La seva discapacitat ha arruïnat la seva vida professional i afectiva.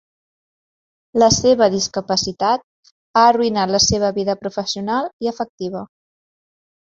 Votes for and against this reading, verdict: 2, 0, accepted